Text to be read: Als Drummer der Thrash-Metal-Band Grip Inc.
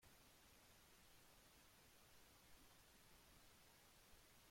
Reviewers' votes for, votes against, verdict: 0, 2, rejected